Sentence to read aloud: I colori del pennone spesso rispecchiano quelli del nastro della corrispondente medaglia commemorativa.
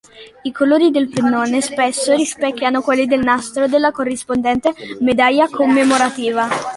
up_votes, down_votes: 2, 0